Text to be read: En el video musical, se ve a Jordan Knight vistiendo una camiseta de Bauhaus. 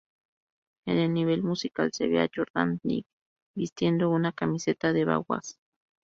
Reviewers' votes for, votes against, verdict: 0, 2, rejected